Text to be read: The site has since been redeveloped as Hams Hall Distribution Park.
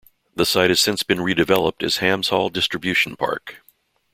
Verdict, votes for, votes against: accepted, 2, 0